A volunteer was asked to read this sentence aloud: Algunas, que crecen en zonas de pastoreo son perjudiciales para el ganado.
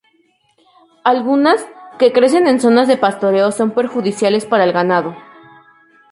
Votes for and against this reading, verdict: 6, 0, accepted